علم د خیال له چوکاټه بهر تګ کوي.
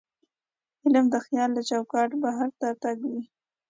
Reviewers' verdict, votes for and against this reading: accepted, 2, 0